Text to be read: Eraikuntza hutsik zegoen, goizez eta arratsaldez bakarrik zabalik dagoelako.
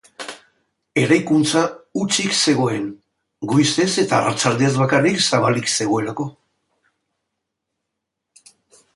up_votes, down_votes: 0, 2